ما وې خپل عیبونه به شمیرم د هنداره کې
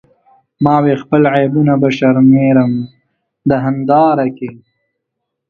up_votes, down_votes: 0, 2